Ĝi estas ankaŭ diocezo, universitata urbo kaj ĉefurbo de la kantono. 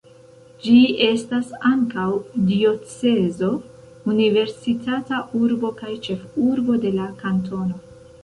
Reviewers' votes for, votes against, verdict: 1, 2, rejected